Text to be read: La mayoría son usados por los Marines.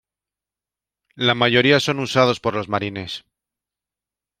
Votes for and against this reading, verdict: 2, 0, accepted